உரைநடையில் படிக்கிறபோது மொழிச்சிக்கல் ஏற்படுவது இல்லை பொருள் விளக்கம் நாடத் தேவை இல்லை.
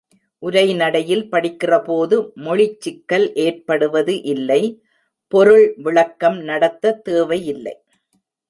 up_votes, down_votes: 0, 2